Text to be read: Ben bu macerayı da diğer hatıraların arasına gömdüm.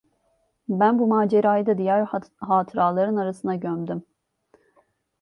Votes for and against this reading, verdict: 1, 2, rejected